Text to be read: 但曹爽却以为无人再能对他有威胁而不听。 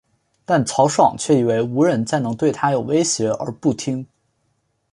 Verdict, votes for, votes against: accepted, 4, 0